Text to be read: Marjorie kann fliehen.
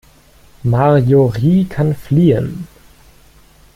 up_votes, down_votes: 1, 2